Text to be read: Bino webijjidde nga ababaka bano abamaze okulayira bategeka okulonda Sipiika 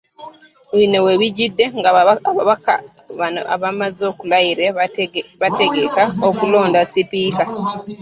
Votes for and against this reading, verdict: 0, 2, rejected